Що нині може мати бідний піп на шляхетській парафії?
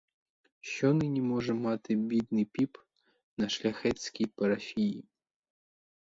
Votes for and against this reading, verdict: 2, 2, rejected